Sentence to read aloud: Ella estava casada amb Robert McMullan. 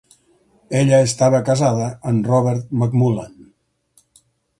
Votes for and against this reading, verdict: 4, 0, accepted